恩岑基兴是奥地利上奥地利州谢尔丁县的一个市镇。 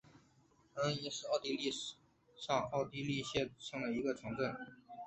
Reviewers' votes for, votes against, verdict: 5, 1, accepted